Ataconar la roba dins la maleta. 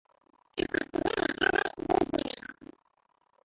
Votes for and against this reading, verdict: 0, 4, rejected